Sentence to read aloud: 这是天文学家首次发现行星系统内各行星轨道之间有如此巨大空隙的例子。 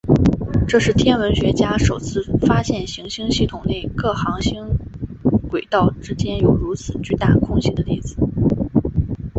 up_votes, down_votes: 3, 0